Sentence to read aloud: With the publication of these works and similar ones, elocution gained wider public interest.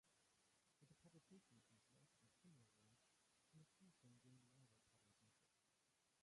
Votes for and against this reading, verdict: 0, 2, rejected